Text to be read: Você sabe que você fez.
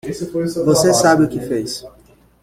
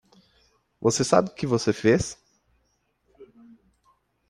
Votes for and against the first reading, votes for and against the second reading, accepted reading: 0, 2, 2, 0, second